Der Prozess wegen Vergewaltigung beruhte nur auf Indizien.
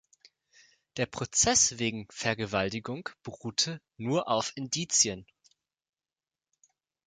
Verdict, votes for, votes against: accepted, 2, 0